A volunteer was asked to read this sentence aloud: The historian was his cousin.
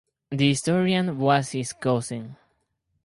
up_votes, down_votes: 4, 0